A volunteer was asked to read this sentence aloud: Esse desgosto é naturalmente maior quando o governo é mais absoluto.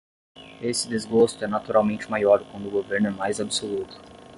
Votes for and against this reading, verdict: 10, 0, accepted